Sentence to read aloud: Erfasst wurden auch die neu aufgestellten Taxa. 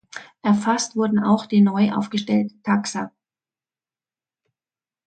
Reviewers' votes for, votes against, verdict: 2, 0, accepted